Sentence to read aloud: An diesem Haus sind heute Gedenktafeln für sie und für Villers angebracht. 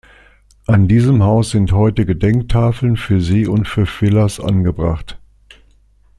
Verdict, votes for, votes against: accepted, 2, 0